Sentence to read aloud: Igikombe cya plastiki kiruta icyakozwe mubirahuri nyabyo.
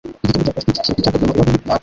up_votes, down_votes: 1, 2